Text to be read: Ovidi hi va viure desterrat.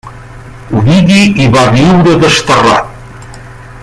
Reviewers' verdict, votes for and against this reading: rejected, 0, 2